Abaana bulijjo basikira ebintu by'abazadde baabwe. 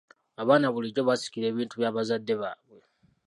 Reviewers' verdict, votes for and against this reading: accepted, 2, 0